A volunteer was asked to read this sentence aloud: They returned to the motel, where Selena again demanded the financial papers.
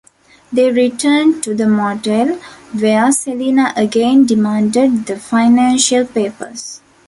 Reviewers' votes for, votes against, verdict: 2, 0, accepted